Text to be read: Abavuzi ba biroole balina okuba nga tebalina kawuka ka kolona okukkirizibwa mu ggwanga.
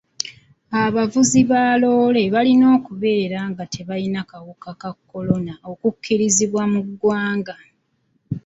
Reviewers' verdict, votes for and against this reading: rejected, 0, 2